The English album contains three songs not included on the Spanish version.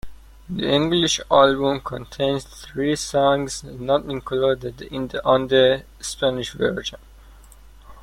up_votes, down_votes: 0, 2